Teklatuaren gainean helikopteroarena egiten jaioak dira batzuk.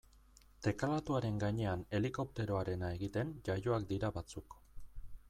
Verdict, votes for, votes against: accepted, 2, 0